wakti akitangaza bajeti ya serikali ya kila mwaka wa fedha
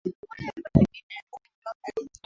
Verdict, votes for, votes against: rejected, 0, 2